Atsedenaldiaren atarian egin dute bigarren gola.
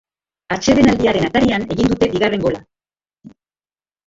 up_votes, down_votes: 1, 2